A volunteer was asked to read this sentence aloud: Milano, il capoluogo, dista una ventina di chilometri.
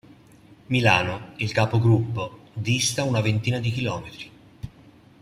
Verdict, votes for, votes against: rejected, 0, 2